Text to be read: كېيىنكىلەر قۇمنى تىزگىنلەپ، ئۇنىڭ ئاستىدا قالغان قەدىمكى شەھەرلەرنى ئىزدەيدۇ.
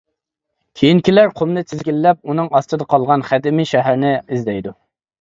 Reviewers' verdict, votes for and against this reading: rejected, 1, 2